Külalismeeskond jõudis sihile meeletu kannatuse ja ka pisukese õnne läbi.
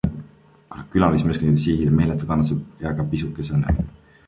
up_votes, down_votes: 0, 2